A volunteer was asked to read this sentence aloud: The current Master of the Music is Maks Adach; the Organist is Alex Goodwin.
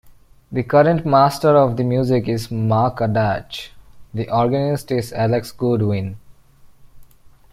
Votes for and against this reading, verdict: 1, 2, rejected